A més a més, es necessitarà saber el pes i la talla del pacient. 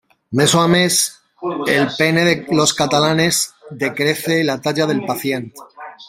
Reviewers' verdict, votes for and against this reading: rejected, 0, 2